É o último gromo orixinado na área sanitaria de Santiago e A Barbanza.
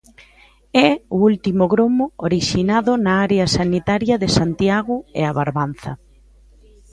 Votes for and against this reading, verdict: 2, 0, accepted